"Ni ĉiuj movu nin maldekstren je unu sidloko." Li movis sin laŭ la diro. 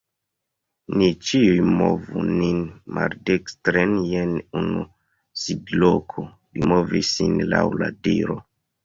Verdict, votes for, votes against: accepted, 2, 1